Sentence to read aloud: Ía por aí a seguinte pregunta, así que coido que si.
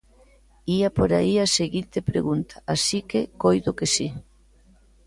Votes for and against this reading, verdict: 2, 0, accepted